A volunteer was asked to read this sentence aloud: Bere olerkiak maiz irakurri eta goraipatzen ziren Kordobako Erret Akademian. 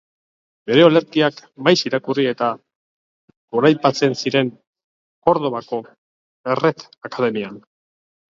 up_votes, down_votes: 1, 2